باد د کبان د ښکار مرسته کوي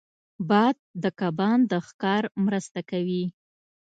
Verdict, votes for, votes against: accepted, 2, 0